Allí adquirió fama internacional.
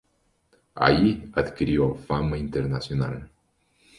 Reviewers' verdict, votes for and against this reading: accepted, 2, 0